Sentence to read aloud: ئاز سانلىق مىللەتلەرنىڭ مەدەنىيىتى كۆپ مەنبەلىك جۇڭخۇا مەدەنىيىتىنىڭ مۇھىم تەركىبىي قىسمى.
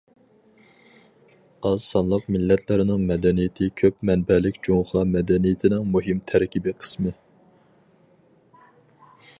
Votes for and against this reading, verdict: 4, 0, accepted